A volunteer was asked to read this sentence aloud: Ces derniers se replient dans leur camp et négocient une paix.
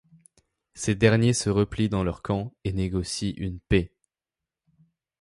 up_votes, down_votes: 2, 0